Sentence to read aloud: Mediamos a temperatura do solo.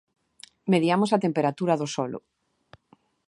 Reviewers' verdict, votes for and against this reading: accepted, 2, 0